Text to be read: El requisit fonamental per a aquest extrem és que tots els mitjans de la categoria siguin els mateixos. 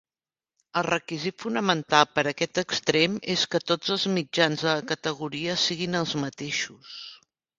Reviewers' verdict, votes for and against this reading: accepted, 3, 0